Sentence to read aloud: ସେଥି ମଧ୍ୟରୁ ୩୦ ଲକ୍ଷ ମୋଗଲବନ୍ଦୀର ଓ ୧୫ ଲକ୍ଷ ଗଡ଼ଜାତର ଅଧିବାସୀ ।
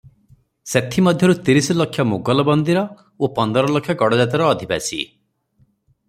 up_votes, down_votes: 0, 2